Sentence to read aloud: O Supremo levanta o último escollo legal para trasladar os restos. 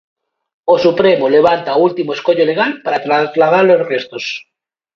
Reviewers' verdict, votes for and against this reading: rejected, 1, 2